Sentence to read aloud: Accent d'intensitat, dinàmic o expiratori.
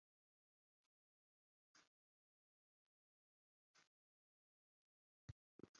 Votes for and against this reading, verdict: 0, 2, rejected